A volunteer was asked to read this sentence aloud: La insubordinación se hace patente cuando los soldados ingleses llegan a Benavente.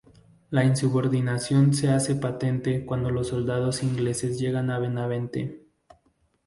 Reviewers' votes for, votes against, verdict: 2, 0, accepted